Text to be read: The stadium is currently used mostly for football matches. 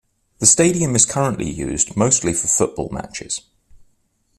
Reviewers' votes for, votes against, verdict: 2, 0, accepted